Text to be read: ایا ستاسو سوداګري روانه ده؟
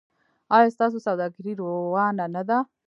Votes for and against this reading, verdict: 0, 2, rejected